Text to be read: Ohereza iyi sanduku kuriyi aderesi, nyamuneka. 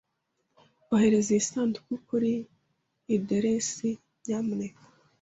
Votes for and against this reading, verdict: 1, 2, rejected